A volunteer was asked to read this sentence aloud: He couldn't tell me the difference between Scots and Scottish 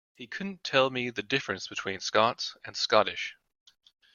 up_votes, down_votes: 2, 0